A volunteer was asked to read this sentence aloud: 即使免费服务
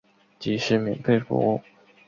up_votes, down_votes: 2, 1